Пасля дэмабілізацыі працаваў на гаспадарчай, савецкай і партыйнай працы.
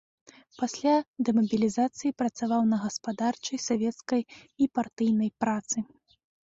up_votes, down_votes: 2, 0